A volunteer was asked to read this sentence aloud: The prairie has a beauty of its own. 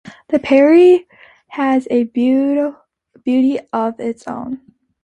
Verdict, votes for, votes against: rejected, 0, 2